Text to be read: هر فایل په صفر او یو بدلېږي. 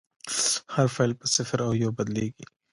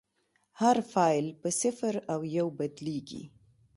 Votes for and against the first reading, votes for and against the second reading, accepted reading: 1, 2, 2, 0, second